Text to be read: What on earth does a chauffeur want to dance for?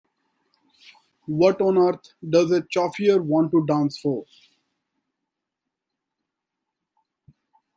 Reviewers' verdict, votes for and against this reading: rejected, 0, 2